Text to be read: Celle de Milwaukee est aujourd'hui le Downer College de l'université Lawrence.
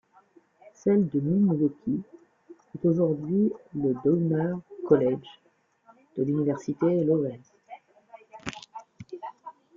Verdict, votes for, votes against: accepted, 2, 1